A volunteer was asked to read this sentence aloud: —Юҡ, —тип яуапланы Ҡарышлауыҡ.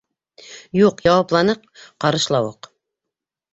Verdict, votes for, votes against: rejected, 1, 2